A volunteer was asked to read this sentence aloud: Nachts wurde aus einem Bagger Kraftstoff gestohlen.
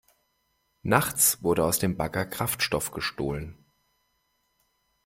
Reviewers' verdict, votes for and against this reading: rejected, 1, 2